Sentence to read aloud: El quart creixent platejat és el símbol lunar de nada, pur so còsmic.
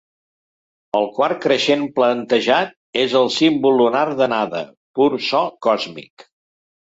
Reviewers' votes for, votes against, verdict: 0, 2, rejected